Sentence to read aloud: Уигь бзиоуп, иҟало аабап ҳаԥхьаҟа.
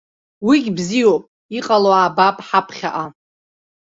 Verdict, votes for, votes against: accepted, 2, 0